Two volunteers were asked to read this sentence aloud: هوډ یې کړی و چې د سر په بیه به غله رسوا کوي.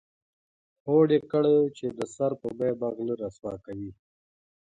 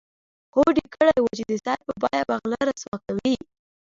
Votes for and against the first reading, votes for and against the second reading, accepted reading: 2, 0, 0, 2, first